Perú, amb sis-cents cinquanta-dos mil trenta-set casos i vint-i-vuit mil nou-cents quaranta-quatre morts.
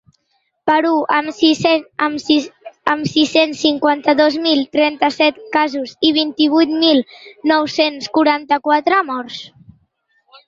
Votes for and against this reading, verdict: 1, 2, rejected